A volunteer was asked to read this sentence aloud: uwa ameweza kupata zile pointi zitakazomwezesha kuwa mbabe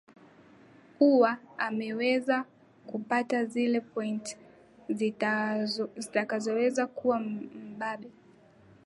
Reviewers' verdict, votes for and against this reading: rejected, 4, 7